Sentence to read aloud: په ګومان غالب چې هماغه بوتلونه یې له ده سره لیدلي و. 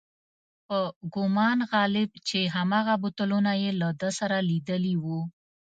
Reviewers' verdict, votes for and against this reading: accepted, 2, 0